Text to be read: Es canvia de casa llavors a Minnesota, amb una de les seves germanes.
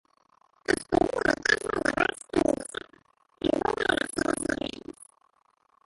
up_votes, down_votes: 0, 2